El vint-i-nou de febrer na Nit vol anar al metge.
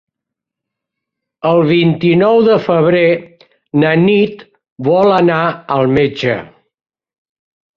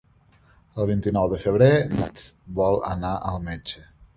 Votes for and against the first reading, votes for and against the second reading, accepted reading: 4, 0, 1, 2, first